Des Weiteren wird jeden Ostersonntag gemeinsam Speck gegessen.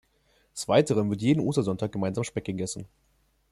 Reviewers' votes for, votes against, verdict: 1, 2, rejected